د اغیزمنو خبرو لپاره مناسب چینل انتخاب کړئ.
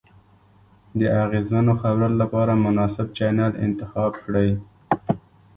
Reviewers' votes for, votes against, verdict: 2, 0, accepted